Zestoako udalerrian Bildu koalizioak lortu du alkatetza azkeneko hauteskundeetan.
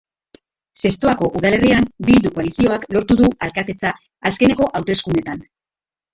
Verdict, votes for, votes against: accepted, 2, 0